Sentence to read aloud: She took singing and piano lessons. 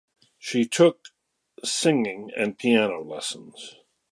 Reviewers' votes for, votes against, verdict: 2, 0, accepted